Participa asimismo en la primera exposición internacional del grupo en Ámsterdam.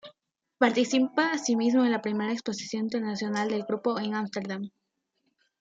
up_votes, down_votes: 2, 0